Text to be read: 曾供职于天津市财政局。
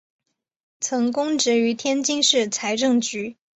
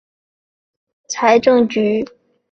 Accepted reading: first